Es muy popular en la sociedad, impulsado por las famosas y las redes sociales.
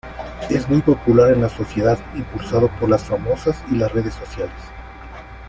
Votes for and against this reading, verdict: 1, 2, rejected